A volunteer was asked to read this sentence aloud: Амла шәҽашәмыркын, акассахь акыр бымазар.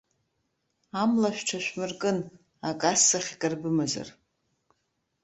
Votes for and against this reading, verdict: 1, 2, rejected